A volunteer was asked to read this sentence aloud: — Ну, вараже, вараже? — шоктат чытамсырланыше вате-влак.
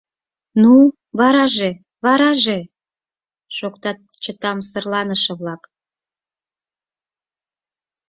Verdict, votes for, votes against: rejected, 2, 4